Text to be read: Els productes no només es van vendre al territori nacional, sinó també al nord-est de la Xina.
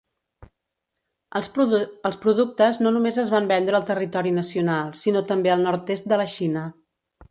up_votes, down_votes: 0, 2